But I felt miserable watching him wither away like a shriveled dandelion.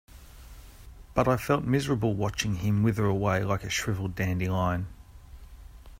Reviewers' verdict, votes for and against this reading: accepted, 2, 0